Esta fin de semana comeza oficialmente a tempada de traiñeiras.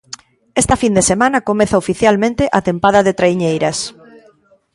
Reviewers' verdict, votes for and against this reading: accepted, 2, 0